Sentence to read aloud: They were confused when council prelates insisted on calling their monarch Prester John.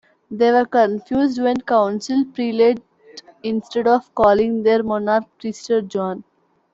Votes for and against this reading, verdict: 0, 2, rejected